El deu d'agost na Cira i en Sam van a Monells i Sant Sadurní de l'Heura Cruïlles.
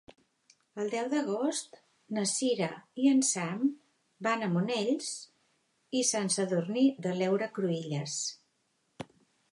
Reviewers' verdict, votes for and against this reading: accepted, 3, 0